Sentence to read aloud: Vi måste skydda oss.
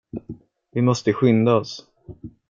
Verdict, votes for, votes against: accepted, 2, 1